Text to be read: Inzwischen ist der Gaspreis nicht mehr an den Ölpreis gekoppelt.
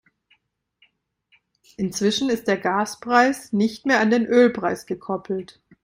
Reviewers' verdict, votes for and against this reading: accepted, 2, 0